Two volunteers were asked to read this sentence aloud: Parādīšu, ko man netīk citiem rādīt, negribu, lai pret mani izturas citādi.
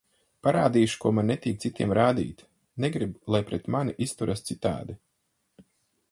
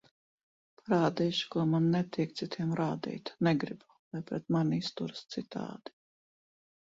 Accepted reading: first